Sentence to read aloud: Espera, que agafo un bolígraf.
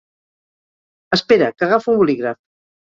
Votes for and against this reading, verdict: 1, 2, rejected